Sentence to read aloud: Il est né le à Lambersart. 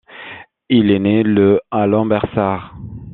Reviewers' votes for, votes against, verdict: 2, 0, accepted